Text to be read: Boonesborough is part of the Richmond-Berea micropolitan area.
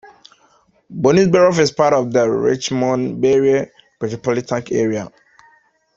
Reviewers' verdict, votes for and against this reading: rejected, 0, 2